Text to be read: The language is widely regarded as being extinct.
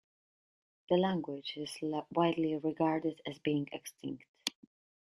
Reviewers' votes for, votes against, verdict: 1, 2, rejected